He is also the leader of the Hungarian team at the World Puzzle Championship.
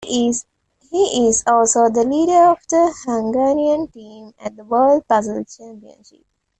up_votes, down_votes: 0, 2